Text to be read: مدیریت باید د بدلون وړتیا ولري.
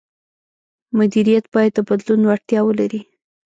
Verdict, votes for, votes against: rejected, 0, 2